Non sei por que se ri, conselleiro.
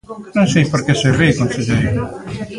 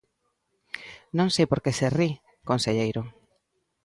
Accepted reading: second